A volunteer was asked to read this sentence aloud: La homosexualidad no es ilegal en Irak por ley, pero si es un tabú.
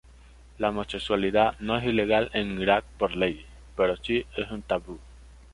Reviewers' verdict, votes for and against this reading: accepted, 2, 0